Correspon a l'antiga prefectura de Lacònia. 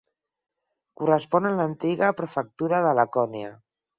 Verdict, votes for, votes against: accepted, 4, 0